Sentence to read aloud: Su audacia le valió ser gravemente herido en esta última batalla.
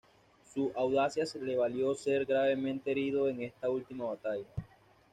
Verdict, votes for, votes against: rejected, 1, 2